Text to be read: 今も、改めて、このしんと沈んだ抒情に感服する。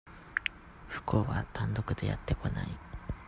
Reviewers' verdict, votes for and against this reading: rejected, 0, 2